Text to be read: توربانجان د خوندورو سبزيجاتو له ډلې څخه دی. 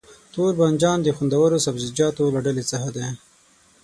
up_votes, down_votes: 3, 6